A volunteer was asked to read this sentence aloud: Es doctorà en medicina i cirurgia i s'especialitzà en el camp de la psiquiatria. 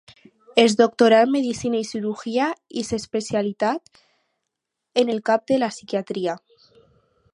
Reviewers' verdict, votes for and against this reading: rejected, 2, 4